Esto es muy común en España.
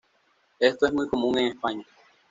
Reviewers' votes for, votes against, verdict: 2, 0, accepted